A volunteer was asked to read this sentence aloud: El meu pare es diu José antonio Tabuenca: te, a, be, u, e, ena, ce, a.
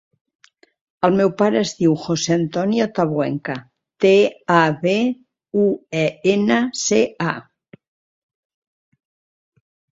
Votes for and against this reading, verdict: 2, 0, accepted